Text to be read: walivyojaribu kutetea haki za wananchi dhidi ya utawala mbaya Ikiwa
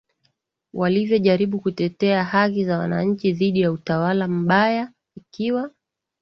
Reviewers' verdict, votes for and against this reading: rejected, 0, 2